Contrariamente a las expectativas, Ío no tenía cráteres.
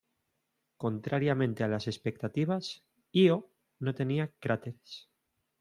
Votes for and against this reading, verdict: 2, 0, accepted